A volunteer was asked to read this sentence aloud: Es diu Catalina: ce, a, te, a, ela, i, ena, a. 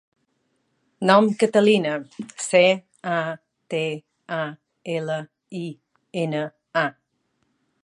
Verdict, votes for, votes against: rejected, 0, 2